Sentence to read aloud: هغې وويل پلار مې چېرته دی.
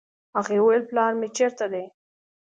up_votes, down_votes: 2, 0